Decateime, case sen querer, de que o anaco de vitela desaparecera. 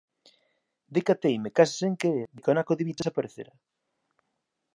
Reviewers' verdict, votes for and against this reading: rejected, 0, 2